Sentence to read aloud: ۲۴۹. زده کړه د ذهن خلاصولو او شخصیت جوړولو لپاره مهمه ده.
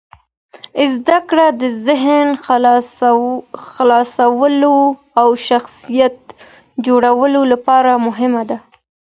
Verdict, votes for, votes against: rejected, 0, 2